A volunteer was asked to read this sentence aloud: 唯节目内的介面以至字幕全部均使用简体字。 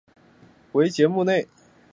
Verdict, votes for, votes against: rejected, 1, 2